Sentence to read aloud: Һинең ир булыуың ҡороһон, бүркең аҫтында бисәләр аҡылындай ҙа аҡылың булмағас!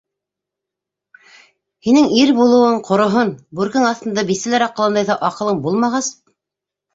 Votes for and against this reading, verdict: 2, 0, accepted